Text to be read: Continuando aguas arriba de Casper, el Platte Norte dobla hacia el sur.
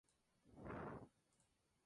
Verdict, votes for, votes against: rejected, 2, 4